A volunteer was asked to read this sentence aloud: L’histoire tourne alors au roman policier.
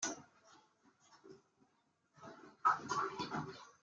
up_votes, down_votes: 0, 2